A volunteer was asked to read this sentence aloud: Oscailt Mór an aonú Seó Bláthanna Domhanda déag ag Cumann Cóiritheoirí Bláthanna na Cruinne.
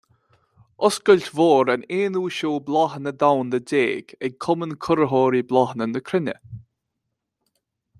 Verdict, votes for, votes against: rejected, 1, 2